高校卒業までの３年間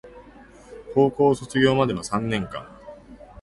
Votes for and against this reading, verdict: 0, 2, rejected